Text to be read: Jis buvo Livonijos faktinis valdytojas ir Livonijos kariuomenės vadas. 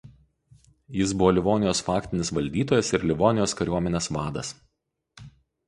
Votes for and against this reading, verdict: 4, 0, accepted